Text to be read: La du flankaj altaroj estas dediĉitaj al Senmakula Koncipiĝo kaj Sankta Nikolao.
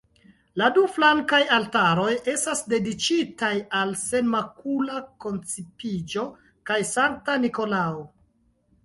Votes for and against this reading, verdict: 0, 2, rejected